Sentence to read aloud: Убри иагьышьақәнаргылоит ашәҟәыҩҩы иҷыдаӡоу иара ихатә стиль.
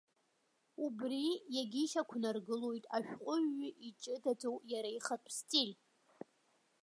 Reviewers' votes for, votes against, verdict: 1, 2, rejected